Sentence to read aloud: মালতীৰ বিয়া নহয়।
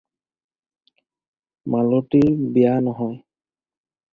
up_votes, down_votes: 4, 0